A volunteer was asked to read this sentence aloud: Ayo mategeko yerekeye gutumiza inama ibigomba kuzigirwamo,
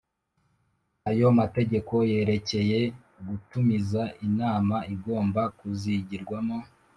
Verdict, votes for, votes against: rejected, 1, 2